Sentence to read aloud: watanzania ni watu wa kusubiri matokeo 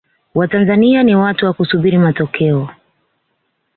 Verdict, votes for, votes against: accepted, 2, 0